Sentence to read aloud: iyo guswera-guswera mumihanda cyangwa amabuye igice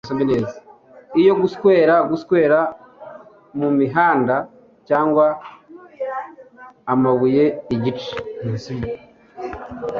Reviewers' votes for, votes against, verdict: 1, 2, rejected